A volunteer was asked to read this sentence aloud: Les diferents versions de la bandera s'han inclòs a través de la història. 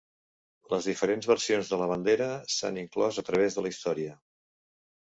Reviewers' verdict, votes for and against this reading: accepted, 2, 0